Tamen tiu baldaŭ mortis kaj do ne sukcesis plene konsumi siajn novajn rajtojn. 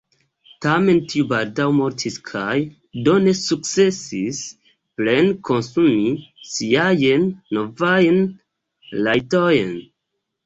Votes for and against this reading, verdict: 0, 2, rejected